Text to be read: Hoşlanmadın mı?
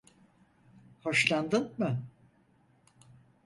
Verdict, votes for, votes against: rejected, 0, 4